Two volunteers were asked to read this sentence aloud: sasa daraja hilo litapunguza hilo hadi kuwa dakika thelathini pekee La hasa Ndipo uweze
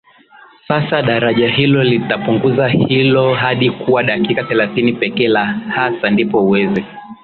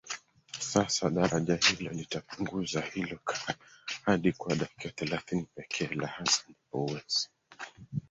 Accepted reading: first